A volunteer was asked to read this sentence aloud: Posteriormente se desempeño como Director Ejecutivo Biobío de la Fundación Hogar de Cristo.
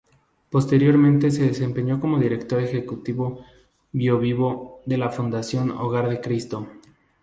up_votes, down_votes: 0, 2